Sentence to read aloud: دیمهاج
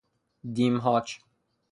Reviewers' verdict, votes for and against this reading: accepted, 3, 0